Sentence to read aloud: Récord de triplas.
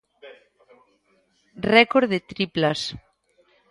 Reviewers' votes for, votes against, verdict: 1, 2, rejected